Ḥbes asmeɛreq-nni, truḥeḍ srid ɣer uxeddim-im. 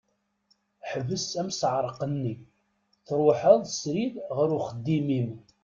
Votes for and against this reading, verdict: 1, 2, rejected